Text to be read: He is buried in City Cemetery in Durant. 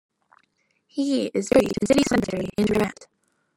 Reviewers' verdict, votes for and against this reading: rejected, 1, 2